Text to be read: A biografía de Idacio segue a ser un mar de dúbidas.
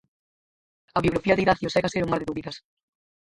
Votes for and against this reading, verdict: 0, 4, rejected